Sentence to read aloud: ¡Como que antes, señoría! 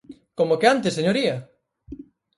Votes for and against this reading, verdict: 4, 0, accepted